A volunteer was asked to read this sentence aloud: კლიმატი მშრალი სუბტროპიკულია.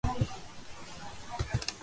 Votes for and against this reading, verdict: 0, 2, rejected